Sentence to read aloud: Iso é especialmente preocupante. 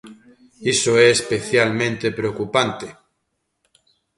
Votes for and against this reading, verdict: 2, 0, accepted